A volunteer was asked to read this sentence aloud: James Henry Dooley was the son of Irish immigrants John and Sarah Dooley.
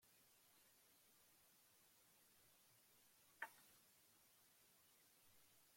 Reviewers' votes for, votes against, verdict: 0, 2, rejected